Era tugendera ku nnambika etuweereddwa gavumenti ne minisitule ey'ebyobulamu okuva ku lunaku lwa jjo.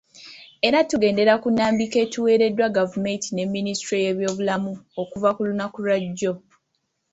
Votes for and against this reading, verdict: 2, 0, accepted